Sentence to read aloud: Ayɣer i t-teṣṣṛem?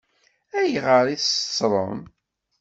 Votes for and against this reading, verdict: 2, 0, accepted